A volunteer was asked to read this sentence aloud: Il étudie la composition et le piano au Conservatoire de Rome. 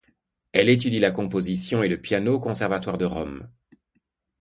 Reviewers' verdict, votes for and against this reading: rejected, 0, 2